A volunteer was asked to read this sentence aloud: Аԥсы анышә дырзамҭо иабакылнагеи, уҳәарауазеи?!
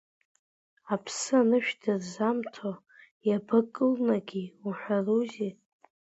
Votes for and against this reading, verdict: 0, 2, rejected